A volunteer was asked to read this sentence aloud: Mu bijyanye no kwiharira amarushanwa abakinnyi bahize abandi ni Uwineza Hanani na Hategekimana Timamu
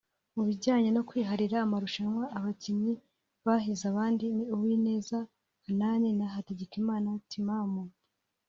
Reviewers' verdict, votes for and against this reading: accepted, 2, 1